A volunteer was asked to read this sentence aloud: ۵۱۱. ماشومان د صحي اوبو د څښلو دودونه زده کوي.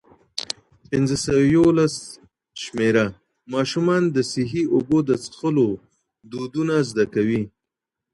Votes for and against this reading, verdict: 0, 2, rejected